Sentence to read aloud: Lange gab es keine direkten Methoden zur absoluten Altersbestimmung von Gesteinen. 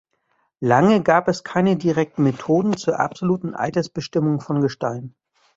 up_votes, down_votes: 1, 2